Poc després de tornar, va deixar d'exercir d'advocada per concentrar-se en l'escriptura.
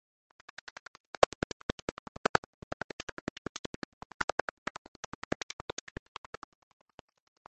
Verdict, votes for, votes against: rejected, 0, 2